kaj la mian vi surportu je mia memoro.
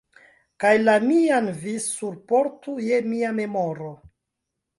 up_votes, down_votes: 2, 1